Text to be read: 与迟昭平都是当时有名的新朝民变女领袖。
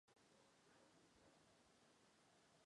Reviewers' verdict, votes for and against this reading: rejected, 0, 3